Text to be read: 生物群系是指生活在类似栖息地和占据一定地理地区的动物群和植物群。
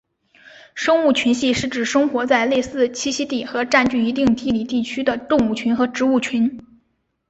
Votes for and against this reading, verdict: 2, 0, accepted